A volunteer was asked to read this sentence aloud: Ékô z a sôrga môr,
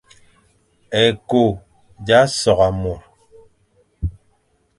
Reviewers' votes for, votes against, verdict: 2, 0, accepted